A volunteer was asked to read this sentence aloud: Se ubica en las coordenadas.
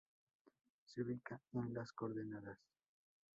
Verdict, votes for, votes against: rejected, 0, 2